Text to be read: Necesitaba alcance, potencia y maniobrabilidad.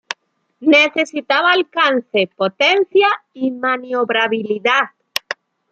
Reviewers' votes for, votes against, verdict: 2, 0, accepted